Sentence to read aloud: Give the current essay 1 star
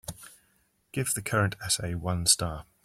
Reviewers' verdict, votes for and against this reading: rejected, 0, 2